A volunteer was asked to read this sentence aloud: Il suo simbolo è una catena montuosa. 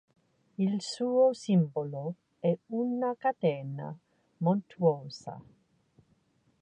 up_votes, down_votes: 2, 0